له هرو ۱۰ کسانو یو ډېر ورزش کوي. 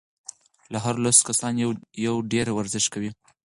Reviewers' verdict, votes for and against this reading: rejected, 0, 2